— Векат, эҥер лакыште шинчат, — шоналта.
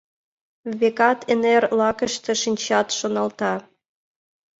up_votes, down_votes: 2, 0